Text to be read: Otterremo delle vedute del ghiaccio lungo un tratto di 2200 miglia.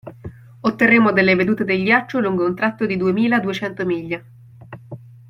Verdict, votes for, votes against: rejected, 0, 2